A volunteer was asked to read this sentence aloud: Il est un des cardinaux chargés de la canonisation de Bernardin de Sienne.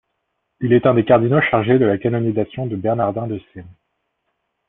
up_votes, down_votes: 2, 0